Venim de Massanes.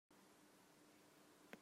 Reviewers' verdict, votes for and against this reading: rejected, 0, 2